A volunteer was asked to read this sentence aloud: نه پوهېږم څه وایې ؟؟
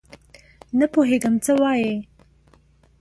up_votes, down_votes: 2, 0